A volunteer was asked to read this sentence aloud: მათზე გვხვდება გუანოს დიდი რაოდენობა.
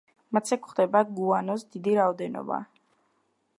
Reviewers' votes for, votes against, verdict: 2, 0, accepted